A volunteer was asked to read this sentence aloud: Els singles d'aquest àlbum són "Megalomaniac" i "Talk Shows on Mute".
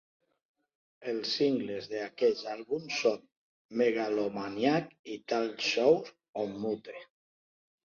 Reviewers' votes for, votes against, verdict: 3, 1, accepted